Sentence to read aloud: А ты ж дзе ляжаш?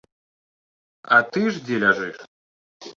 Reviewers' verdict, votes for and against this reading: rejected, 1, 2